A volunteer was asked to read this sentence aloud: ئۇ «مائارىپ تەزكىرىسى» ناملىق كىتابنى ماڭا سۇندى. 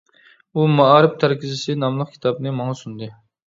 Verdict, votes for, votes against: rejected, 1, 2